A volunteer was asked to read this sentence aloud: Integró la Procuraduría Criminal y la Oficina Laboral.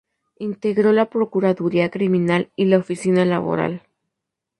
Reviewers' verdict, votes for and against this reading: accepted, 2, 0